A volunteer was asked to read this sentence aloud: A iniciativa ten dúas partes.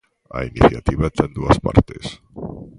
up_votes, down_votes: 3, 0